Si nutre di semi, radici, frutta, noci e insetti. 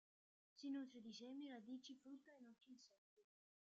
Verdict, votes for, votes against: rejected, 0, 2